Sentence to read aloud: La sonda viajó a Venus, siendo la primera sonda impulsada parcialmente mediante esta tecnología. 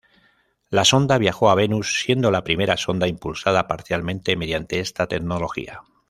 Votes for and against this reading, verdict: 2, 0, accepted